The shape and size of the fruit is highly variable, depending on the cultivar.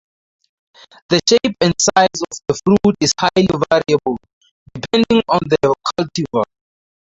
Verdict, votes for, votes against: rejected, 0, 2